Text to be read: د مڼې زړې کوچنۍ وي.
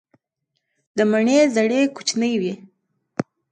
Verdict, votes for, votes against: rejected, 1, 2